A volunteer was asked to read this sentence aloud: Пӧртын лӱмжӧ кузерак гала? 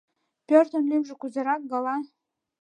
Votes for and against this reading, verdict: 2, 0, accepted